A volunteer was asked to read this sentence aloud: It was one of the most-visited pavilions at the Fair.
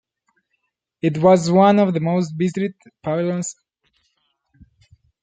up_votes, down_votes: 0, 2